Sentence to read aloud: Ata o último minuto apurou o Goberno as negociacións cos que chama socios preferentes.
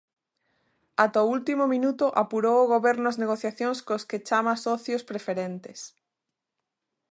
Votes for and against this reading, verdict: 2, 0, accepted